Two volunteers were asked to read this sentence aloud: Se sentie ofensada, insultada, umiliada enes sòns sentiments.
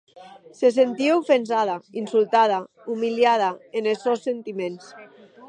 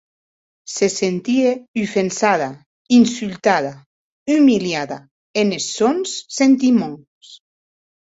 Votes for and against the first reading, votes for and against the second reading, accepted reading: 2, 0, 2, 2, first